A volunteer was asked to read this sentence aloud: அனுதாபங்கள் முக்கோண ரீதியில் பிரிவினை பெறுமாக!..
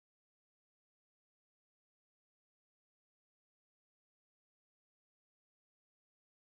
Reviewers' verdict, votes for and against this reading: rejected, 1, 3